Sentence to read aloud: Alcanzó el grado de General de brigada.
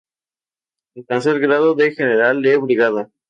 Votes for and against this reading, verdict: 0, 2, rejected